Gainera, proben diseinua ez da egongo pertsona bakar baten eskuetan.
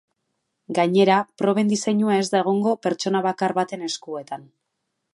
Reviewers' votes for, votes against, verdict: 3, 0, accepted